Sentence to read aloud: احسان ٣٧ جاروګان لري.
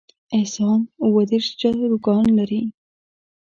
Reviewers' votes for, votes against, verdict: 0, 2, rejected